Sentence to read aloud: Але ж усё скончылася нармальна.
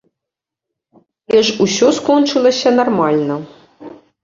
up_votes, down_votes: 0, 2